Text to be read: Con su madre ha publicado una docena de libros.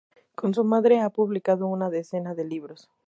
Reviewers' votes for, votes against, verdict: 0, 2, rejected